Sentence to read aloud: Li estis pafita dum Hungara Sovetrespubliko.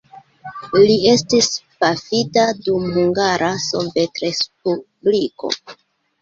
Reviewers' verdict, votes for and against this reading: accepted, 2, 1